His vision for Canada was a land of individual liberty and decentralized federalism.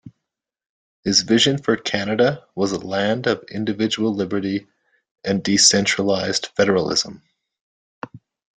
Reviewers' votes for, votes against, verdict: 2, 0, accepted